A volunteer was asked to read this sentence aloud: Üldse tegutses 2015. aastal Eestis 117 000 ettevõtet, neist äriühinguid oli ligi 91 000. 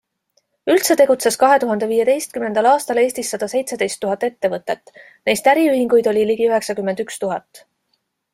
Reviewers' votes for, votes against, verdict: 0, 2, rejected